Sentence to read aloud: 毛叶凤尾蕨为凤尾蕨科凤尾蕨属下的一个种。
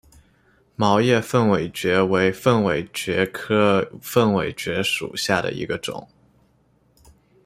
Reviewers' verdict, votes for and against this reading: accepted, 2, 0